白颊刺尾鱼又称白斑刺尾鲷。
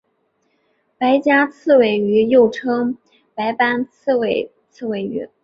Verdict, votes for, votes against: rejected, 1, 2